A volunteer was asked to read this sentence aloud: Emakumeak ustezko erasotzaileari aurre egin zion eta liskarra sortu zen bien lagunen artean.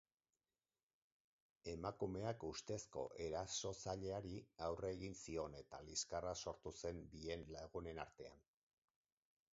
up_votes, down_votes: 4, 2